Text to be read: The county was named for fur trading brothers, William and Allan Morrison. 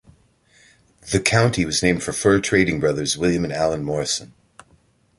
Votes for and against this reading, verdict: 2, 0, accepted